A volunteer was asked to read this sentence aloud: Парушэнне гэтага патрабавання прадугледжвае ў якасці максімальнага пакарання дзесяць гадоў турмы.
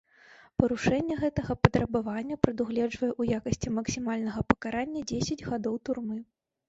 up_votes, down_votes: 2, 0